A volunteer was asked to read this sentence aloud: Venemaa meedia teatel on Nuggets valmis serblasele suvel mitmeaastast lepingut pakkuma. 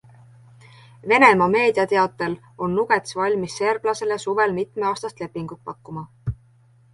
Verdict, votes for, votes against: accepted, 2, 1